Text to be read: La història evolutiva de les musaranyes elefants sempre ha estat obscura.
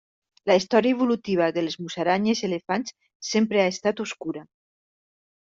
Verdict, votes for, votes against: accepted, 2, 1